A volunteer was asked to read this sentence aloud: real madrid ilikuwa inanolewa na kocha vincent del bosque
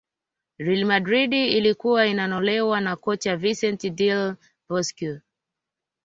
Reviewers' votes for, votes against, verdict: 2, 0, accepted